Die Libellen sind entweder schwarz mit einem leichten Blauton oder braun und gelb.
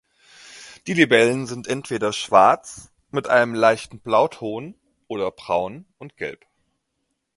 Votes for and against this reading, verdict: 2, 0, accepted